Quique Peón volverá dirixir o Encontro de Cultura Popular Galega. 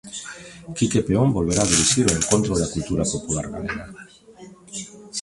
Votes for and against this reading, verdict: 0, 2, rejected